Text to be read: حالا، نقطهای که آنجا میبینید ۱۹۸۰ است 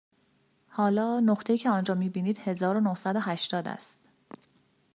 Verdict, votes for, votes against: rejected, 0, 2